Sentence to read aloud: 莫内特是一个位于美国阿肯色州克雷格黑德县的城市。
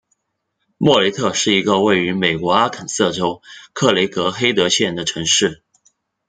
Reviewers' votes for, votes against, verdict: 2, 1, accepted